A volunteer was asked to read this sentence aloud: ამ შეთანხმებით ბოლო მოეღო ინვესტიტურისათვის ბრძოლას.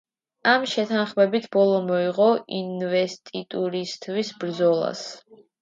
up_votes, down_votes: 2, 1